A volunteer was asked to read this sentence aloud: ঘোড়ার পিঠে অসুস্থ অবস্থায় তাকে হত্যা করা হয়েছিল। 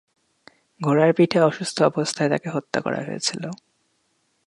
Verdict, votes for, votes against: accepted, 2, 0